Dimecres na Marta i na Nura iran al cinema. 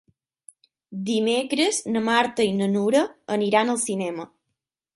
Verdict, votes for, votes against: rejected, 3, 6